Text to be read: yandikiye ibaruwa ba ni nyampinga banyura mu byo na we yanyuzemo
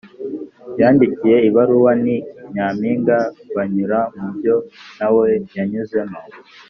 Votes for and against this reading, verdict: 1, 2, rejected